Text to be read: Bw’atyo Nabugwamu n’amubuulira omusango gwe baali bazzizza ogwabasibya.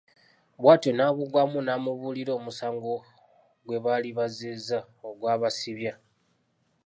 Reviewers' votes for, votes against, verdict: 3, 0, accepted